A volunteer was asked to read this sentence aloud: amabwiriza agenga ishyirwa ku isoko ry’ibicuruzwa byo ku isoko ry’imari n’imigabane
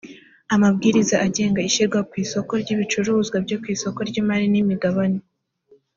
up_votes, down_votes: 2, 0